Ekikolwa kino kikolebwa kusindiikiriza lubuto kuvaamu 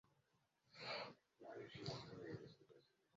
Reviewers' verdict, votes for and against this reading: rejected, 0, 2